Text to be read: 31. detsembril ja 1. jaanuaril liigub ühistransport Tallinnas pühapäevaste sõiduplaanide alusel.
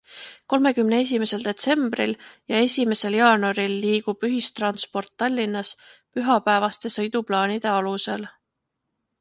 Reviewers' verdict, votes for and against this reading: rejected, 0, 2